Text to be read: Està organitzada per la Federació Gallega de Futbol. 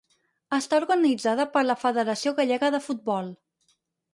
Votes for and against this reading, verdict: 4, 0, accepted